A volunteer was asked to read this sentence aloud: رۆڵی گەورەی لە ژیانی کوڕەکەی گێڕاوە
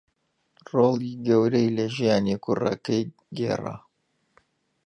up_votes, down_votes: 0, 2